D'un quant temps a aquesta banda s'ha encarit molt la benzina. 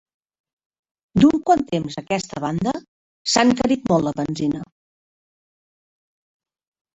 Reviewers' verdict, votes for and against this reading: rejected, 1, 2